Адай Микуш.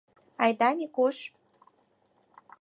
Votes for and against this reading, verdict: 2, 4, rejected